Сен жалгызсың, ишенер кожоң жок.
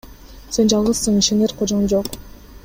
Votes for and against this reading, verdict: 2, 0, accepted